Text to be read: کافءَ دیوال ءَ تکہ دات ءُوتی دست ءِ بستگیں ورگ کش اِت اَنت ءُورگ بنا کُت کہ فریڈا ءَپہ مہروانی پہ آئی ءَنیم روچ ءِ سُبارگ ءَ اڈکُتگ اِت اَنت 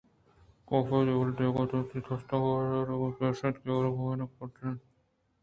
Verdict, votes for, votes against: accepted, 2, 0